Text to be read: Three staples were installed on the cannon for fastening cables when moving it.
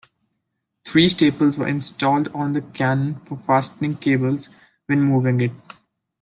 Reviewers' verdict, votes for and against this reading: accepted, 2, 0